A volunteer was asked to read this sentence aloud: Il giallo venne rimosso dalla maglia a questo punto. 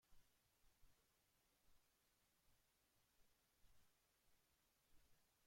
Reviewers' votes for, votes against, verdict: 0, 2, rejected